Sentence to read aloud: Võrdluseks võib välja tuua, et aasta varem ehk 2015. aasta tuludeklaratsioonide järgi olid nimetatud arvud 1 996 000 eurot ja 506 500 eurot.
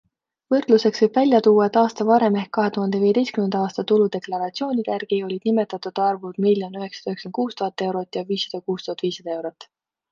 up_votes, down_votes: 0, 2